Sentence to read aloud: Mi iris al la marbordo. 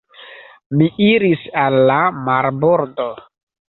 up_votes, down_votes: 1, 2